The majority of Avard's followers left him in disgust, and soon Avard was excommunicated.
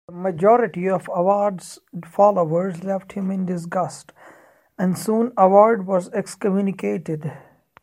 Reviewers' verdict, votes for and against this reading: accepted, 2, 1